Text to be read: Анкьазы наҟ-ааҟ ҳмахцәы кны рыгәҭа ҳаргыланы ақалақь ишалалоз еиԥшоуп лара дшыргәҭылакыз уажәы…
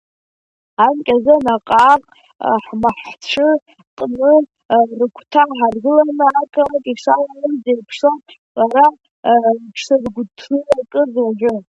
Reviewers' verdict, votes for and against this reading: rejected, 0, 2